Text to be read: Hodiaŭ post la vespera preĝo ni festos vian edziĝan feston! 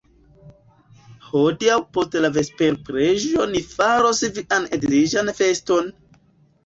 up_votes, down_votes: 0, 2